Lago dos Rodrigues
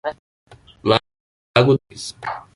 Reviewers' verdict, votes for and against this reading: rejected, 0, 2